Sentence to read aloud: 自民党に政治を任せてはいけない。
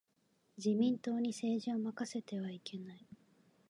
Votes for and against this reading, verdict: 2, 0, accepted